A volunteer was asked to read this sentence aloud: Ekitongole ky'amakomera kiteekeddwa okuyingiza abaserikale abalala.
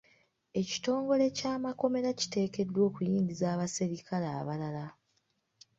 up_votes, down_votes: 2, 0